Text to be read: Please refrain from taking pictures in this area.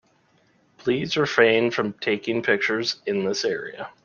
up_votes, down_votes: 2, 0